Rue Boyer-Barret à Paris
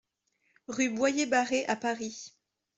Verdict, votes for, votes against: accepted, 2, 0